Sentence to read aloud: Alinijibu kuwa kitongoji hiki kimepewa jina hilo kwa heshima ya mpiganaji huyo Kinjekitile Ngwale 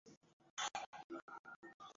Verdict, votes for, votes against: rejected, 0, 2